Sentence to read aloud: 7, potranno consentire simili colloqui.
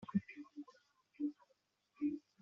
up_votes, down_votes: 0, 2